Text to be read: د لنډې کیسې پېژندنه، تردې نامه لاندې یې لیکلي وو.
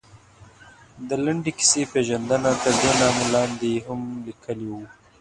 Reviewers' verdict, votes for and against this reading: rejected, 0, 2